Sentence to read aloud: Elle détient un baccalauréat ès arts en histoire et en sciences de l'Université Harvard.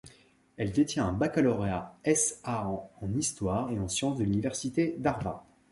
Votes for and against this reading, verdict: 1, 3, rejected